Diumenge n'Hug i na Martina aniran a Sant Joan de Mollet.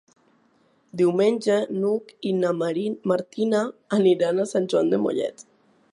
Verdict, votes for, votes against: rejected, 0, 2